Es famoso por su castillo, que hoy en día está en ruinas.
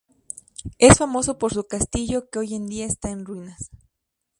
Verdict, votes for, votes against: accepted, 2, 0